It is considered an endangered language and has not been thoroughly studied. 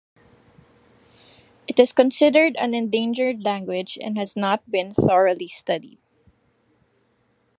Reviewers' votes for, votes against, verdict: 0, 2, rejected